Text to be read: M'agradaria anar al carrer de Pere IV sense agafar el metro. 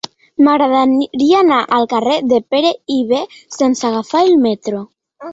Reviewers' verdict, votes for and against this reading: rejected, 0, 2